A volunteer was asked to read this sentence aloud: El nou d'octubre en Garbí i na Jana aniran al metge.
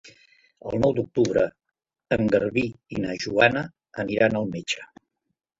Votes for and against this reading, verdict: 0, 3, rejected